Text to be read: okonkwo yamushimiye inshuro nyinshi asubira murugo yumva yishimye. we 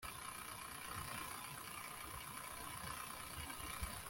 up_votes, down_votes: 0, 2